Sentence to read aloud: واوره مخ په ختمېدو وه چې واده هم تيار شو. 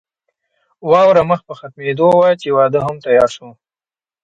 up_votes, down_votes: 0, 2